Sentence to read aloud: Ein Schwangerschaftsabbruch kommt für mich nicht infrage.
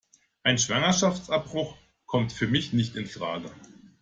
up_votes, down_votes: 2, 0